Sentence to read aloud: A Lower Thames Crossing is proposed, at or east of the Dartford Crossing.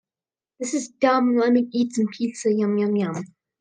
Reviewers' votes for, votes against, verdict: 1, 2, rejected